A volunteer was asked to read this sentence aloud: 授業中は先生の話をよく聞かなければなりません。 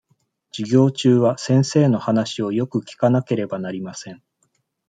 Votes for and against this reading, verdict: 2, 0, accepted